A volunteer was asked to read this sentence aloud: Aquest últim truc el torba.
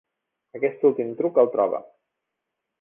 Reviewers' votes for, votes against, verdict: 1, 3, rejected